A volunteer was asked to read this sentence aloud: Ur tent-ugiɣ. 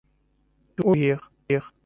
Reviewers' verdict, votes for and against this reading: rejected, 0, 2